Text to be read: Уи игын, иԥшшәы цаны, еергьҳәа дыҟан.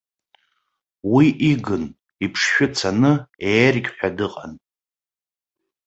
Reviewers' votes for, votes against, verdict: 2, 0, accepted